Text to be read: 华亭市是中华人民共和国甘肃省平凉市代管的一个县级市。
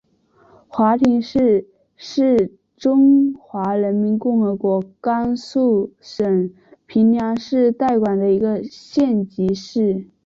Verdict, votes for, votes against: rejected, 1, 2